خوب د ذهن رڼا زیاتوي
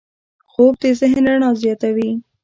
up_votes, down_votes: 0, 2